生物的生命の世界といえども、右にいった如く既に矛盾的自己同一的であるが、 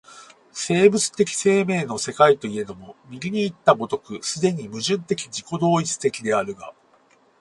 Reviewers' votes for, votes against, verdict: 4, 2, accepted